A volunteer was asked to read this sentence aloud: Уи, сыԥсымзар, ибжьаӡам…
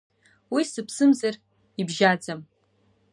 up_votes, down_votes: 0, 2